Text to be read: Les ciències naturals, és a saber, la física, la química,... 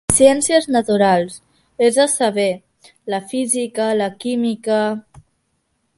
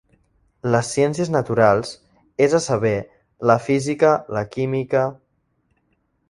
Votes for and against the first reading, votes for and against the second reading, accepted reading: 0, 2, 3, 0, second